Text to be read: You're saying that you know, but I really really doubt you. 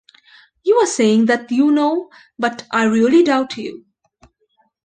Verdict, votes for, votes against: rejected, 0, 2